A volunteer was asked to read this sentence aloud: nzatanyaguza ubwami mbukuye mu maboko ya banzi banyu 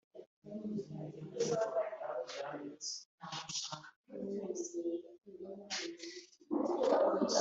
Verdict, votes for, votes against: rejected, 0, 2